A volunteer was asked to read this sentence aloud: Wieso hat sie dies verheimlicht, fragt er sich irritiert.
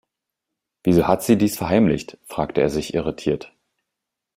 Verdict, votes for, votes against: rejected, 1, 2